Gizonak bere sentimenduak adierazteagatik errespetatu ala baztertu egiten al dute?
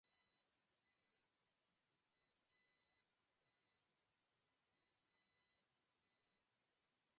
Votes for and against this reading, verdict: 0, 2, rejected